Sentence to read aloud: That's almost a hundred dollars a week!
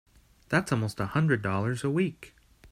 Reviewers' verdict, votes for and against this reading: accepted, 3, 0